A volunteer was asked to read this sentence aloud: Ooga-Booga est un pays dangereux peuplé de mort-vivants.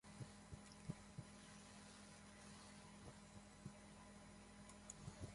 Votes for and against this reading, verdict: 1, 2, rejected